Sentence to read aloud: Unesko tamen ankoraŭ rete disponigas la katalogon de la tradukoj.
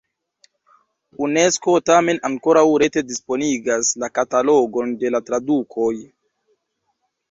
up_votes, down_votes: 0, 2